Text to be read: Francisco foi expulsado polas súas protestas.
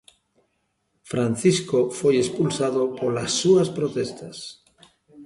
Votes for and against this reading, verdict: 1, 2, rejected